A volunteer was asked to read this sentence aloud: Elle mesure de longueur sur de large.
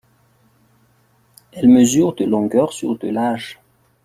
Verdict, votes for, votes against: rejected, 3, 4